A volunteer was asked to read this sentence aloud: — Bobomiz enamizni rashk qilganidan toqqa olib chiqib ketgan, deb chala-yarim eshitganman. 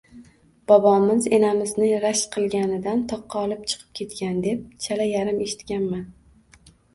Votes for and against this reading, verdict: 0, 2, rejected